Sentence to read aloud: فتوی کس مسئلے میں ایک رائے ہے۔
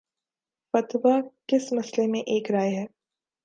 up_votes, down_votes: 3, 1